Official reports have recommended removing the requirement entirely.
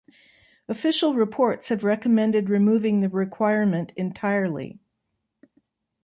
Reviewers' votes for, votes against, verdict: 2, 0, accepted